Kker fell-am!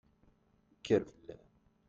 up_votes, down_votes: 1, 2